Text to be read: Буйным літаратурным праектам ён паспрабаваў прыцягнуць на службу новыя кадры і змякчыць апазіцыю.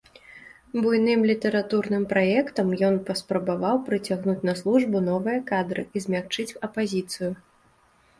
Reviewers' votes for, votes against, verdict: 2, 0, accepted